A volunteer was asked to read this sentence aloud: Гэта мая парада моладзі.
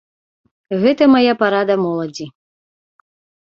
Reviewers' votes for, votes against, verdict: 2, 0, accepted